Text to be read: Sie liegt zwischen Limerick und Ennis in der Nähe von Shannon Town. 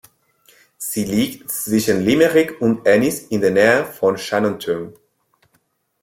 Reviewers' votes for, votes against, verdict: 2, 0, accepted